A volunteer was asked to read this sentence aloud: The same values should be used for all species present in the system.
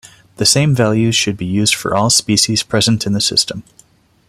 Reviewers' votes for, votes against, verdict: 2, 0, accepted